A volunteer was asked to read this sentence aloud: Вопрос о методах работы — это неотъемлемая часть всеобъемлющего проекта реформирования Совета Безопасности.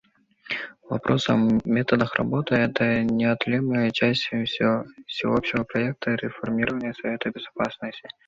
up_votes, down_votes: 0, 2